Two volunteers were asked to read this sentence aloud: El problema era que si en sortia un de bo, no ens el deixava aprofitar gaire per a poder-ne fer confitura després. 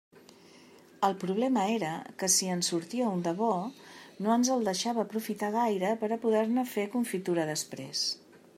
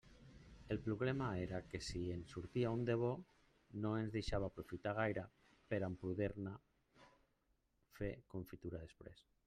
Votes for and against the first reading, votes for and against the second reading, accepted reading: 2, 0, 1, 2, first